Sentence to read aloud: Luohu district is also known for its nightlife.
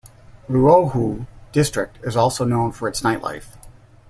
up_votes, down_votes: 2, 0